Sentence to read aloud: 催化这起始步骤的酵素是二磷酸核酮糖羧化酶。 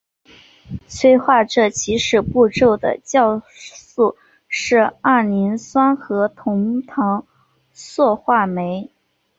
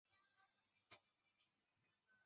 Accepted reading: first